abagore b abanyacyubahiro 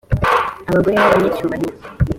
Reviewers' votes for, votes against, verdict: 2, 0, accepted